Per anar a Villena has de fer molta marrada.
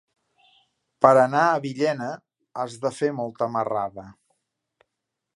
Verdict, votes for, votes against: accepted, 3, 0